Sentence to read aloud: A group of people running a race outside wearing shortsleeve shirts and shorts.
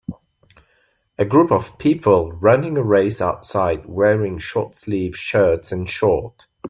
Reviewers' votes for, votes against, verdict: 1, 2, rejected